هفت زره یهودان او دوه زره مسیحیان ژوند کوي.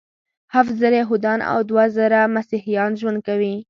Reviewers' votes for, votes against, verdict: 2, 0, accepted